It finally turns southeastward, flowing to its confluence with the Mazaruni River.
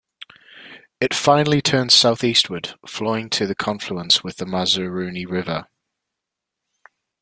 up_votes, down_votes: 1, 2